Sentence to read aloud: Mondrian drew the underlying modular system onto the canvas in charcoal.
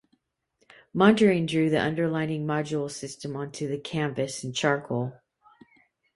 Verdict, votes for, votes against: accepted, 2, 0